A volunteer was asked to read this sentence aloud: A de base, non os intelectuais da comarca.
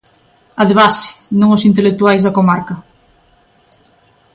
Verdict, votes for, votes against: accepted, 2, 0